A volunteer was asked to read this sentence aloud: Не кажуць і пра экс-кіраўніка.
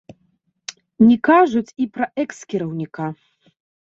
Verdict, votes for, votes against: rejected, 0, 2